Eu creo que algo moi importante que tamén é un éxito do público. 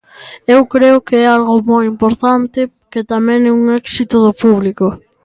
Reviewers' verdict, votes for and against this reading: accepted, 2, 0